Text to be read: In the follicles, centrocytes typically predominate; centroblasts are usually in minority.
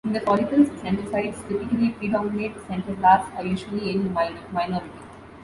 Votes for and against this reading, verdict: 0, 2, rejected